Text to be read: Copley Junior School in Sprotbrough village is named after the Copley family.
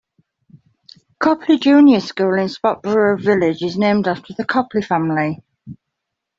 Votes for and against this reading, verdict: 1, 2, rejected